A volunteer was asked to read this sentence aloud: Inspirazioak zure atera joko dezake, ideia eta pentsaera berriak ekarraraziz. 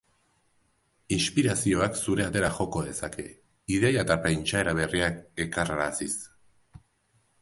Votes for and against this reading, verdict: 3, 1, accepted